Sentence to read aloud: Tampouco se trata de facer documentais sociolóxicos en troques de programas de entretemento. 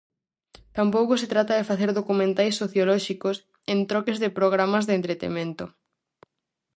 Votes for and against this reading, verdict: 4, 0, accepted